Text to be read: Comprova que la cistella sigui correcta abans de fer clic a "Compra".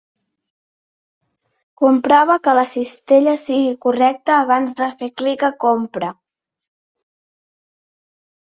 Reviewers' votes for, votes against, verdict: 2, 0, accepted